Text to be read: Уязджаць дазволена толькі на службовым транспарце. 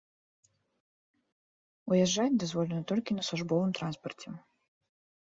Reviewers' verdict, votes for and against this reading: accepted, 3, 0